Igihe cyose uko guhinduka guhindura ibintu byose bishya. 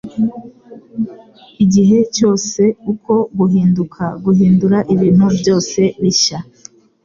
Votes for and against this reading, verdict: 2, 0, accepted